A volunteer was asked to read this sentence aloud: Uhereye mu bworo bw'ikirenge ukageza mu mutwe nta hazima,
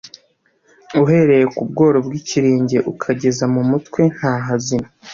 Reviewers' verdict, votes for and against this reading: rejected, 1, 2